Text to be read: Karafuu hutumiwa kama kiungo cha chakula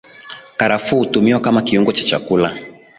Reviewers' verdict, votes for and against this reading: accepted, 11, 0